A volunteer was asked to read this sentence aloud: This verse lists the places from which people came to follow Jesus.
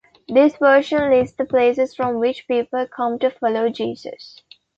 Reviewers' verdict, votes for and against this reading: rejected, 1, 2